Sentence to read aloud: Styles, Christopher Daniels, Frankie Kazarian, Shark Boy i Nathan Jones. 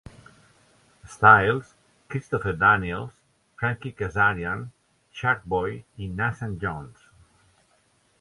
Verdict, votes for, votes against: accepted, 2, 0